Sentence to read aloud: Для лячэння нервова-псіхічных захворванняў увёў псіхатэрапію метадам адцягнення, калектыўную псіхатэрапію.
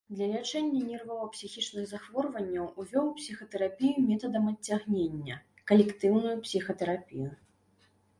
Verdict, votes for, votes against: accepted, 2, 0